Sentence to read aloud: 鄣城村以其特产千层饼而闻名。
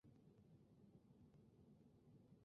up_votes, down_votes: 0, 2